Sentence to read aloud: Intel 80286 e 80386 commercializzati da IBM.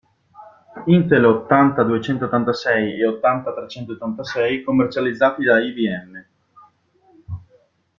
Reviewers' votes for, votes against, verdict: 0, 2, rejected